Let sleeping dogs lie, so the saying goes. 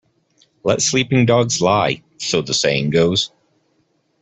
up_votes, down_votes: 2, 0